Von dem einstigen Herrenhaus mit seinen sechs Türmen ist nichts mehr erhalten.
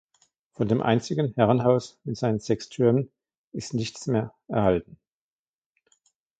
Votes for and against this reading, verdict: 2, 1, accepted